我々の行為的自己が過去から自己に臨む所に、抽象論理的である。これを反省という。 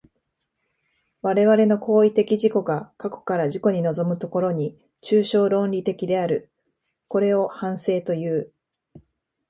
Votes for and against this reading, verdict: 3, 0, accepted